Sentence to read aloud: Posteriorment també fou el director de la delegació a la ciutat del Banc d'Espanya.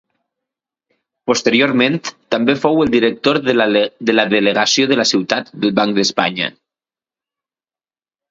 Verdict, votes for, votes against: rejected, 0, 2